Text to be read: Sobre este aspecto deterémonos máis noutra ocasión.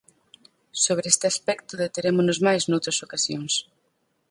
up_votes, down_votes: 0, 4